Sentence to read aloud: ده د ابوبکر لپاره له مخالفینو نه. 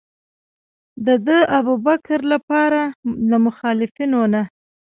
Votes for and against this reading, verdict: 0, 2, rejected